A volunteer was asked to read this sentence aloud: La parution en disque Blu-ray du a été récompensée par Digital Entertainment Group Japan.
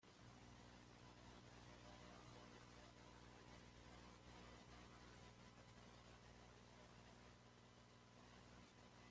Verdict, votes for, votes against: rejected, 1, 2